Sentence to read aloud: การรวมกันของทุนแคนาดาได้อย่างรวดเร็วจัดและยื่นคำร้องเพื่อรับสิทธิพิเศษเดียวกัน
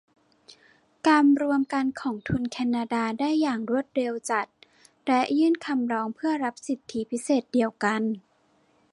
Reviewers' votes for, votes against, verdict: 2, 0, accepted